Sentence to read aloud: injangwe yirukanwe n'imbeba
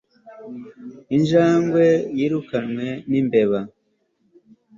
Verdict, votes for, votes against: accepted, 2, 0